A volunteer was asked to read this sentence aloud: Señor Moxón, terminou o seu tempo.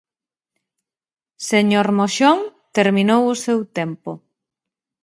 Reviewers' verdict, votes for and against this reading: accepted, 2, 0